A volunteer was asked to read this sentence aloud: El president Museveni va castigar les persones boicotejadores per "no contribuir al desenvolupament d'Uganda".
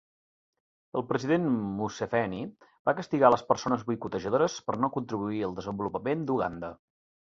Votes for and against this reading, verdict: 3, 0, accepted